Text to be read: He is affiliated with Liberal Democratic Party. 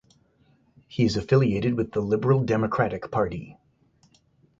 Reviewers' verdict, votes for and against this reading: accepted, 4, 0